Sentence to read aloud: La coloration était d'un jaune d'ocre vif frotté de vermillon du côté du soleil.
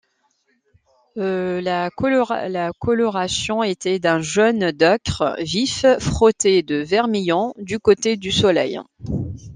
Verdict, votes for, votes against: rejected, 1, 2